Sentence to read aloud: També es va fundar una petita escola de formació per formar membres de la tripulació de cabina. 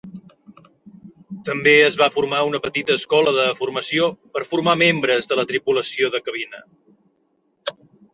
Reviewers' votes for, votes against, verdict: 0, 2, rejected